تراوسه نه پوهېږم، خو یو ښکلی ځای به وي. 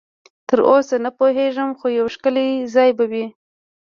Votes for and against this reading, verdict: 2, 0, accepted